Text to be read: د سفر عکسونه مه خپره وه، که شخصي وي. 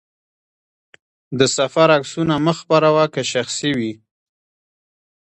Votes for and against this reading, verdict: 1, 2, rejected